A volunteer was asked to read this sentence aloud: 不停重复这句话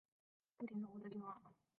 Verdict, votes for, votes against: rejected, 0, 3